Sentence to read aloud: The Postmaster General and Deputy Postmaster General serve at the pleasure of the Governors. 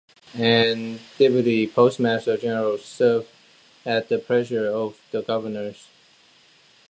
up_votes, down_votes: 0, 2